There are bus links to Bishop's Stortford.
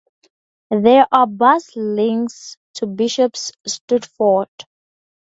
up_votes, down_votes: 4, 0